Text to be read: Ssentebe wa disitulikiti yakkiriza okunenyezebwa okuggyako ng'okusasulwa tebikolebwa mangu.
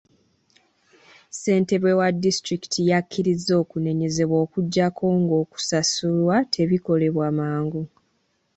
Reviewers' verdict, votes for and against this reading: accepted, 2, 1